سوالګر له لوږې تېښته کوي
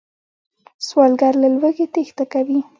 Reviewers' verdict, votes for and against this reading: rejected, 0, 2